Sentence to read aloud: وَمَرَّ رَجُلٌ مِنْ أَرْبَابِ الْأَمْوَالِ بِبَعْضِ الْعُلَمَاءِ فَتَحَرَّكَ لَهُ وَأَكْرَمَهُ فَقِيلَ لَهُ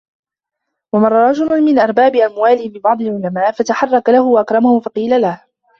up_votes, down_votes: 0, 3